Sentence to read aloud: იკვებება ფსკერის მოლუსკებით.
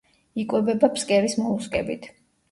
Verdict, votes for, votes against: accepted, 2, 0